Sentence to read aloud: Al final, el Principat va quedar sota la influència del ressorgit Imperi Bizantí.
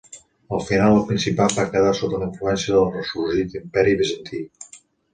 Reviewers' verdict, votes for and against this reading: rejected, 0, 2